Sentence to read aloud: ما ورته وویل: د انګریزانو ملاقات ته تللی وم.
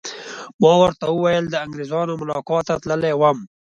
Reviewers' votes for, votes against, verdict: 2, 0, accepted